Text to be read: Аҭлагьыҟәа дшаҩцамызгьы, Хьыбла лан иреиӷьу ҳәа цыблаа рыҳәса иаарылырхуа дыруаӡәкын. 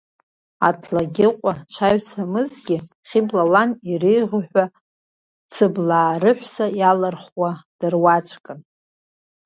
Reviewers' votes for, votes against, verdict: 0, 2, rejected